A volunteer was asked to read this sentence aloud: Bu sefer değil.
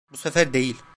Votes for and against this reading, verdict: 2, 0, accepted